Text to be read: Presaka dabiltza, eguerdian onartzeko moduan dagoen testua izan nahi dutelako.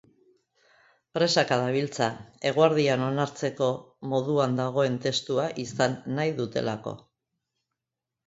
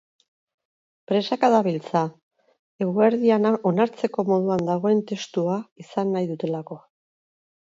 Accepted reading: first